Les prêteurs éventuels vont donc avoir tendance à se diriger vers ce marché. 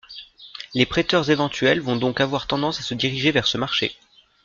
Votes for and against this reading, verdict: 2, 0, accepted